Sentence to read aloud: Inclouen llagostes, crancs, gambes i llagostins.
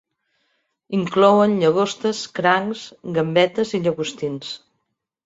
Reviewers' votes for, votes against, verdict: 0, 3, rejected